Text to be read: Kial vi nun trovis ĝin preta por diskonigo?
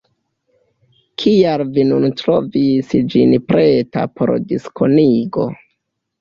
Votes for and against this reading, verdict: 0, 2, rejected